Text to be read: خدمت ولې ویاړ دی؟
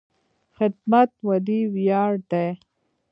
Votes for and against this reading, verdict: 1, 2, rejected